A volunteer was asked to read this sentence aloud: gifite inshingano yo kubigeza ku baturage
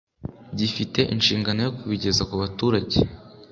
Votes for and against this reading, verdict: 3, 0, accepted